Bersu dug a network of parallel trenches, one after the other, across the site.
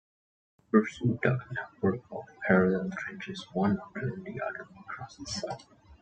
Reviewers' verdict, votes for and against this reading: rejected, 1, 2